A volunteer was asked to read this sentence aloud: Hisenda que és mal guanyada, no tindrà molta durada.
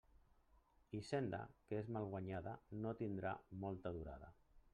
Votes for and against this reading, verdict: 1, 2, rejected